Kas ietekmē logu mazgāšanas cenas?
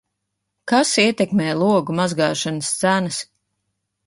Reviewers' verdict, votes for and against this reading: rejected, 0, 2